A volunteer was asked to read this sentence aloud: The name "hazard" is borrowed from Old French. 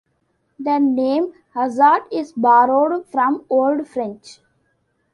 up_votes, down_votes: 2, 0